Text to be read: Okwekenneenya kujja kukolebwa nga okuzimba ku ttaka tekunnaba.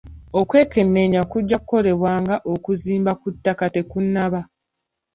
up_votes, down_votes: 3, 0